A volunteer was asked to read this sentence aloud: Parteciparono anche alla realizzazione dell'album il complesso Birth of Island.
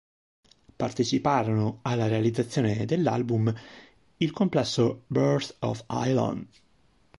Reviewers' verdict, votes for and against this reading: rejected, 1, 3